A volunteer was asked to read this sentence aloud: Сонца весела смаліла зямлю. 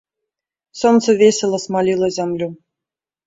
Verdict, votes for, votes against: accepted, 2, 0